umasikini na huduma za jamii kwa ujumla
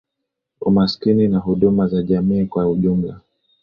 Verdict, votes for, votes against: accepted, 2, 0